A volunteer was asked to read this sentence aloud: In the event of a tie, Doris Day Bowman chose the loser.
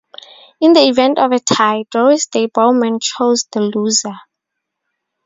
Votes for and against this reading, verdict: 2, 2, rejected